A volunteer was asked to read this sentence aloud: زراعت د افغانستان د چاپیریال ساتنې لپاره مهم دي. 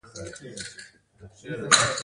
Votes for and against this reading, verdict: 1, 2, rejected